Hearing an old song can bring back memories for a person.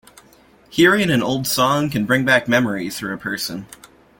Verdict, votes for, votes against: accepted, 2, 1